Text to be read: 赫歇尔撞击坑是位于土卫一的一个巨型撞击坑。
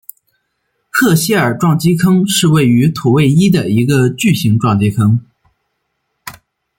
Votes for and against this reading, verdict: 2, 0, accepted